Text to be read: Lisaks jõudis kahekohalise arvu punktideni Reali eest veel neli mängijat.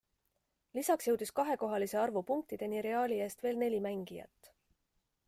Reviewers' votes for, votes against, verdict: 2, 0, accepted